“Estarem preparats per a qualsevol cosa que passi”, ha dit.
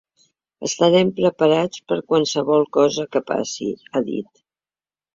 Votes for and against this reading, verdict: 0, 2, rejected